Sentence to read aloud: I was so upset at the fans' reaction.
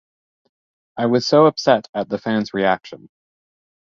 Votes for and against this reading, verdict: 2, 0, accepted